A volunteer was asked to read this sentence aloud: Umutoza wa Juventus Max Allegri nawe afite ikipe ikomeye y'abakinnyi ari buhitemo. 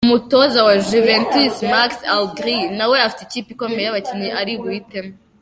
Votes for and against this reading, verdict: 2, 0, accepted